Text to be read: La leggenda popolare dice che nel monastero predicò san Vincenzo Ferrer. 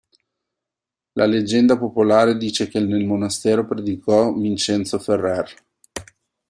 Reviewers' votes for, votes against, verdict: 0, 2, rejected